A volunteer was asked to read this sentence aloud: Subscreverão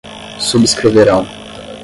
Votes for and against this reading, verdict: 5, 5, rejected